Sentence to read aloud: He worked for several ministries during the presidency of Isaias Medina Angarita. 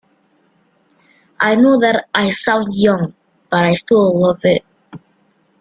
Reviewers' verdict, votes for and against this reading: rejected, 0, 2